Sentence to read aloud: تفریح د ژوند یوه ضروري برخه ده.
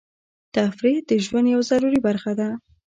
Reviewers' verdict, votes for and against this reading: accepted, 2, 0